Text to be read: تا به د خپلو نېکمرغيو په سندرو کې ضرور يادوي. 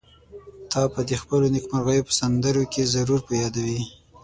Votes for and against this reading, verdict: 6, 0, accepted